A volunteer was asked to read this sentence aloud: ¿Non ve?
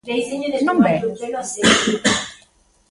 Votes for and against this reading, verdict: 0, 2, rejected